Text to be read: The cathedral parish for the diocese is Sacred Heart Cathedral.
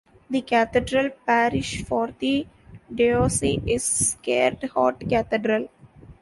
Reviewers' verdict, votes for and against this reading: rejected, 0, 2